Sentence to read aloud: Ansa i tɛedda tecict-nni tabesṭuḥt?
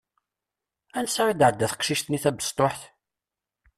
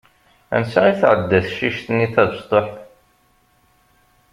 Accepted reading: second